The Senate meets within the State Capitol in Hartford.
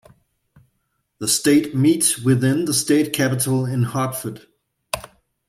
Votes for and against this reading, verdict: 0, 2, rejected